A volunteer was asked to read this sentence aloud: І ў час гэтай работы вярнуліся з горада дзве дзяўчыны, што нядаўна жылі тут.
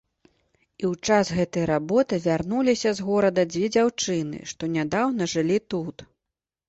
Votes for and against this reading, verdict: 2, 0, accepted